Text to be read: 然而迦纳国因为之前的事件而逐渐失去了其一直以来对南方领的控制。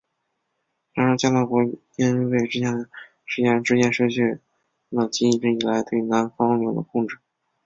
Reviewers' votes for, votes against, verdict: 1, 4, rejected